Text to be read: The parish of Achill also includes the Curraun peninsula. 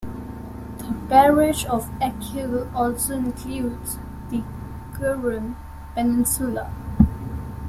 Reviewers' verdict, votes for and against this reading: rejected, 1, 3